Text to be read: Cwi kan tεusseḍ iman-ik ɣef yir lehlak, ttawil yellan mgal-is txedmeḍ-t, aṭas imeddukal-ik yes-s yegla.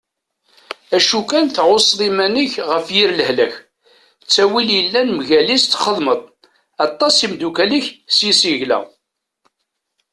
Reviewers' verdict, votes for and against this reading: accepted, 2, 1